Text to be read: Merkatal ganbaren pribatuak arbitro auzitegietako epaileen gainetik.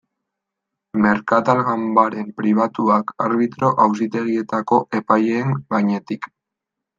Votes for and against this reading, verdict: 3, 0, accepted